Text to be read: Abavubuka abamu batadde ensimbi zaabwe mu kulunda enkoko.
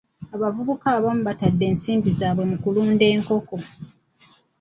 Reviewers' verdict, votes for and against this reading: rejected, 0, 2